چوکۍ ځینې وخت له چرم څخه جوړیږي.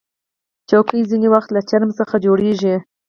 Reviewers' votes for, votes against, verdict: 2, 4, rejected